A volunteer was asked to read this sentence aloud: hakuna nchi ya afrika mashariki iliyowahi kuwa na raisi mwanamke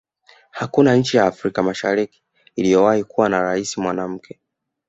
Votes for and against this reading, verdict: 1, 2, rejected